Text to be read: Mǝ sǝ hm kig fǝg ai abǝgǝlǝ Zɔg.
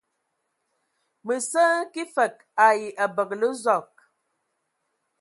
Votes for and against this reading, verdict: 3, 0, accepted